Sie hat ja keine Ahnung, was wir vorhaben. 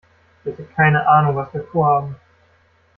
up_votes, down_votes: 1, 2